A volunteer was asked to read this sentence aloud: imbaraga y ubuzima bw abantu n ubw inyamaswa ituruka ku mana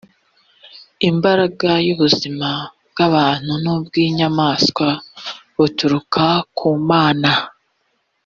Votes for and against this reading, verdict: 1, 2, rejected